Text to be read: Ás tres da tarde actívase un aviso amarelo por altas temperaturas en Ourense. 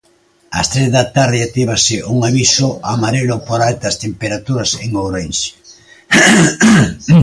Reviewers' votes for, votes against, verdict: 3, 0, accepted